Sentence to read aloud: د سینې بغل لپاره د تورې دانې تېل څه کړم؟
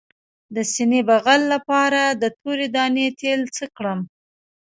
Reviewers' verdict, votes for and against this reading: rejected, 0, 2